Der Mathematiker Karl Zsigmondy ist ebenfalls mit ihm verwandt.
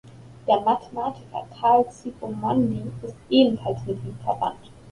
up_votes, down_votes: 2, 1